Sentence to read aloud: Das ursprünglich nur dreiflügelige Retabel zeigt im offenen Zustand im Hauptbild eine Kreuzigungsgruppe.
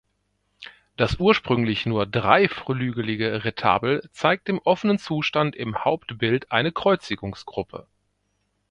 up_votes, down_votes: 1, 2